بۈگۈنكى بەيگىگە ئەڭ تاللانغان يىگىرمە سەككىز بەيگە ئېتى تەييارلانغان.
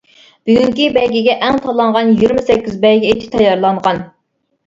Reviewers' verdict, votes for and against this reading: rejected, 0, 2